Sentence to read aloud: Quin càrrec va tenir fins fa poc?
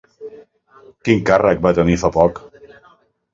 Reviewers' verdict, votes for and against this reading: rejected, 1, 2